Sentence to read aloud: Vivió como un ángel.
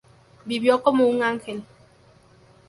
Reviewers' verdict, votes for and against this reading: accepted, 2, 0